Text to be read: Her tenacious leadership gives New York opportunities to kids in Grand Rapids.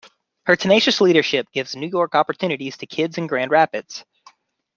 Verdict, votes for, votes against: accepted, 2, 0